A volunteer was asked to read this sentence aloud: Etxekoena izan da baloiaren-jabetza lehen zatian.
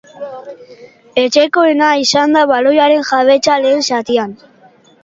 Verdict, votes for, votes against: accepted, 2, 1